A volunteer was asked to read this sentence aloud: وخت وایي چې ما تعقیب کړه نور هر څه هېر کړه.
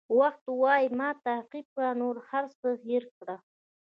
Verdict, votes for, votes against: rejected, 1, 2